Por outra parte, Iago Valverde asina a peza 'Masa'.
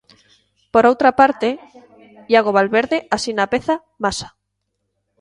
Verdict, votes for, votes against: accepted, 2, 0